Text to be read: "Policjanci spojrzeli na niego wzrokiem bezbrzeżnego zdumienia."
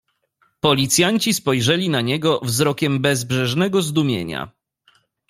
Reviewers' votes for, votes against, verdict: 1, 2, rejected